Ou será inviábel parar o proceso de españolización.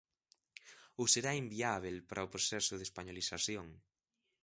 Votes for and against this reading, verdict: 1, 2, rejected